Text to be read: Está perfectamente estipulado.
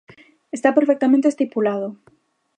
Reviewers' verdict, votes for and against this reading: accepted, 2, 0